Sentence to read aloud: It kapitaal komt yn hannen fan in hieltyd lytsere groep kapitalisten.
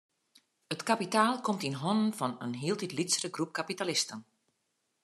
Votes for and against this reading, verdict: 2, 0, accepted